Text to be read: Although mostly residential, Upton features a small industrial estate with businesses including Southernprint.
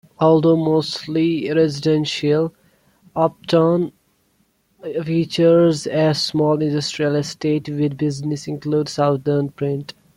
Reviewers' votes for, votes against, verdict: 1, 2, rejected